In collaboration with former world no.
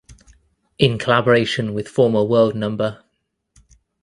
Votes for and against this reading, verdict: 2, 0, accepted